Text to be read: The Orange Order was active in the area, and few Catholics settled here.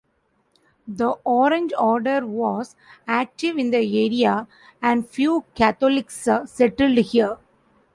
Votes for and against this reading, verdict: 1, 2, rejected